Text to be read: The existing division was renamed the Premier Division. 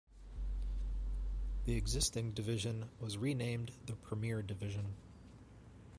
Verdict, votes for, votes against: accepted, 2, 0